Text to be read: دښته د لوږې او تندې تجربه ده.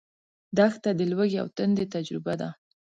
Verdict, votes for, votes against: accepted, 2, 0